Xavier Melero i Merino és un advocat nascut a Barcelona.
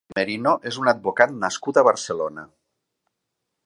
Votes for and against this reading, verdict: 0, 3, rejected